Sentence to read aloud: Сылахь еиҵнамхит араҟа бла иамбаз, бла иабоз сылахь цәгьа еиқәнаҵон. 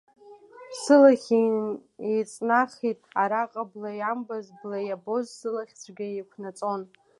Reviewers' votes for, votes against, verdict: 0, 2, rejected